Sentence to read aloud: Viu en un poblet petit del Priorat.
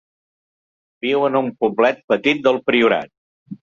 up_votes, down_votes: 2, 0